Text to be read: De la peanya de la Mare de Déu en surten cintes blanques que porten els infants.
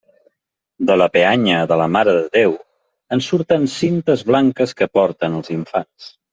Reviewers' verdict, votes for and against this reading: accepted, 3, 0